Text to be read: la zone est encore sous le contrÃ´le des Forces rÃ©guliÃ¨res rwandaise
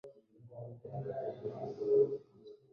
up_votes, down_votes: 0, 2